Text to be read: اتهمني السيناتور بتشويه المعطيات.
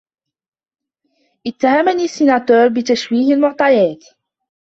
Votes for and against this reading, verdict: 0, 2, rejected